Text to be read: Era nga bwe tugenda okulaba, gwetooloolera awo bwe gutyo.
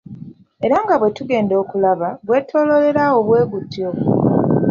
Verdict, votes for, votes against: accepted, 2, 0